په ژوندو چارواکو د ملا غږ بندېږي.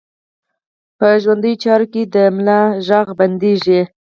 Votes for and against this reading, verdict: 4, 0, accepted